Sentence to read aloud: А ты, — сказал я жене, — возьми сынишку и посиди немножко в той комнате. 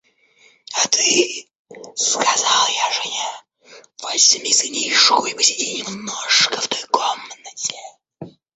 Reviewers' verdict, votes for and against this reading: accepted, 2, 0